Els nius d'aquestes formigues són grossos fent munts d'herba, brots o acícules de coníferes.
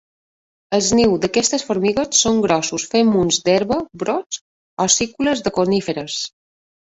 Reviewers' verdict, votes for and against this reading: rejected, 1, 2